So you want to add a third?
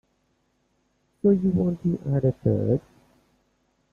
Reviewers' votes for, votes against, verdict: 1, 2, rejected